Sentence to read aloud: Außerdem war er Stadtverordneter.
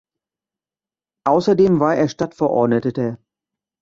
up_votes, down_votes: 0, 2